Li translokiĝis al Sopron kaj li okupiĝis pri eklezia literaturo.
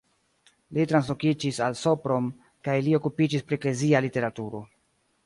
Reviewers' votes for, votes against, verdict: 2, 0, accepted